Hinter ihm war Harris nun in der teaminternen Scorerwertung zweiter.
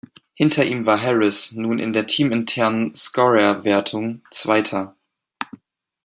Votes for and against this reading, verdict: 2, 0, accepted